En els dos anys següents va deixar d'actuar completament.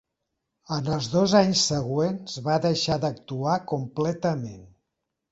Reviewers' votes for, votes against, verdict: 8, 0, accepted